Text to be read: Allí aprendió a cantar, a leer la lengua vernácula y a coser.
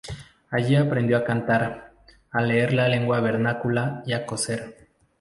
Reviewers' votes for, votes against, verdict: 2, 0, accepted